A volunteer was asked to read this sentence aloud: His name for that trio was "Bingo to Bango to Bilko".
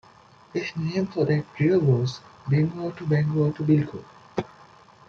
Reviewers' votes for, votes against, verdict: 2, 0, accepted